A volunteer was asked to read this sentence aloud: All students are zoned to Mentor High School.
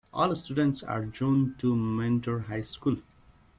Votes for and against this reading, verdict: 1, 2, rejected